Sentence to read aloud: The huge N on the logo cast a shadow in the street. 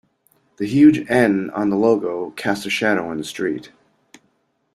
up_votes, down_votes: 2, 0